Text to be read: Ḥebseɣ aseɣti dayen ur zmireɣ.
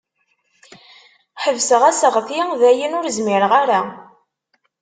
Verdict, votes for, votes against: rejected, 0, 2